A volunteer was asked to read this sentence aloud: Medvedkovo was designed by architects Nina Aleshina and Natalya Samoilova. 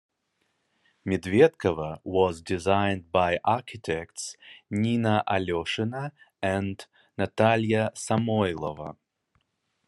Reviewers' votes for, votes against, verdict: 2, 0, accepted